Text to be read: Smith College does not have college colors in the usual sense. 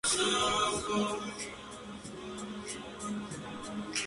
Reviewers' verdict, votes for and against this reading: rejected, 0, 2